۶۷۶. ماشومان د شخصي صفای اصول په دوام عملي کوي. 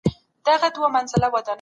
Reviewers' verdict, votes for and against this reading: rejected, 0, 2